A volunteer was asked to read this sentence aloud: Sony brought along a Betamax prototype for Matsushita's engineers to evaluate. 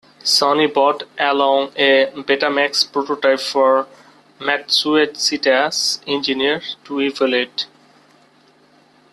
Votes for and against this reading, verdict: 0, 2, rejected